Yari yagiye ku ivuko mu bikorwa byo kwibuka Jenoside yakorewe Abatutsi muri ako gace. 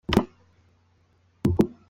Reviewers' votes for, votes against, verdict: 0, 2, rejected